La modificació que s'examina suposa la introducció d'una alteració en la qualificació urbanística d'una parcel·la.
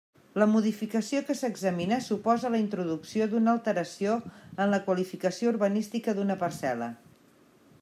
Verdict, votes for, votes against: accepted, 3, 0